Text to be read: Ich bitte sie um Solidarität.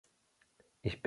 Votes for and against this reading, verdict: 0, 2, rejected